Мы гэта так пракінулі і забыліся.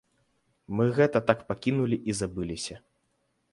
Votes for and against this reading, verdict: 1, 3, rejected